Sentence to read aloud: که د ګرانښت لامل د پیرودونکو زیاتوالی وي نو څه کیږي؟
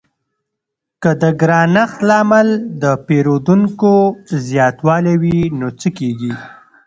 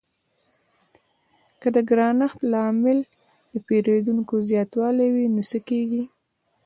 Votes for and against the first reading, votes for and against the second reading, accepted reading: 2, 0, 1, 2, first